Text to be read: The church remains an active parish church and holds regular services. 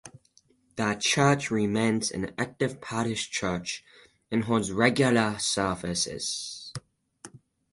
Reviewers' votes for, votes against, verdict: 6, 0, accepted